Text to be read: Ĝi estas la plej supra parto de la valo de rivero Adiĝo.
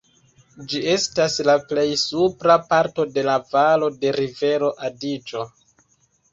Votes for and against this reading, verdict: 1, 2, rejected